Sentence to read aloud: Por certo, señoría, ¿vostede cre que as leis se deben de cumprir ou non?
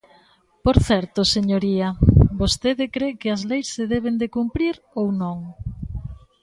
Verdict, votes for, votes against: accepted, 2, 0